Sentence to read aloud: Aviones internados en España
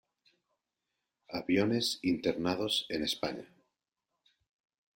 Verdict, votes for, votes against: accepted, 2, 0